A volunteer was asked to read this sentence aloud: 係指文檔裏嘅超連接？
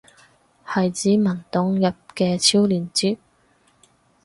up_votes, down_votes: 0, 4